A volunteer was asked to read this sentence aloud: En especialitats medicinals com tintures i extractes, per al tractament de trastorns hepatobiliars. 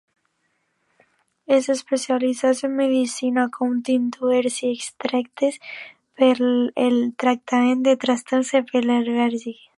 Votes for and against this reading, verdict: 0, 2, rejected